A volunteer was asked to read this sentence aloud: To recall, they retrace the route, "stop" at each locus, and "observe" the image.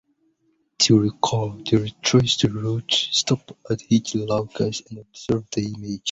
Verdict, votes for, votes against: rejected, 0, 2